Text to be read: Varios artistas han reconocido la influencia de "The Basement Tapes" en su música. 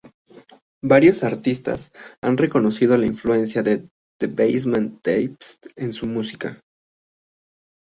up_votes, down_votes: 3, 1